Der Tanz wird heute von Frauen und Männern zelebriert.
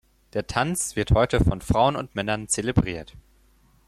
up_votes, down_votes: 4, 0